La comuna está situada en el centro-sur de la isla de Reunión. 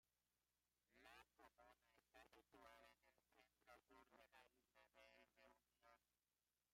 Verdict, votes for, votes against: rejected, 0, 2